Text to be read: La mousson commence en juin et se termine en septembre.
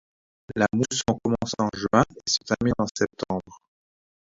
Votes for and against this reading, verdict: 1, 2, rejected